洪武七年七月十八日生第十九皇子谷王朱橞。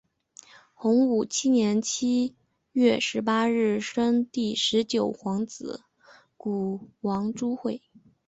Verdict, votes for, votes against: accepted, 4, 1